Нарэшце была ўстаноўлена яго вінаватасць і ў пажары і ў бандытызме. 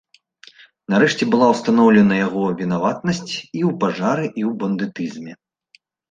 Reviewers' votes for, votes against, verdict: 1, 4, rejected